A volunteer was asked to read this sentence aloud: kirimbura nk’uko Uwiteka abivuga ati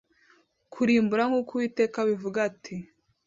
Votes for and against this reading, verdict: 2, 1, accepted